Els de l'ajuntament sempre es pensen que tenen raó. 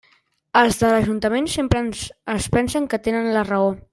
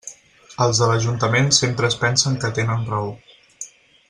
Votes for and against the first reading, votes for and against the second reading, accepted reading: 0, 2, 6, 0, second